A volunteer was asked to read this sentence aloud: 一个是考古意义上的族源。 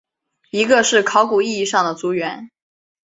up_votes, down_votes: 4, 0